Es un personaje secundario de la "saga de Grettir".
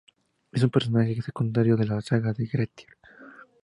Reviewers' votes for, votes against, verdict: 2, 0, accepted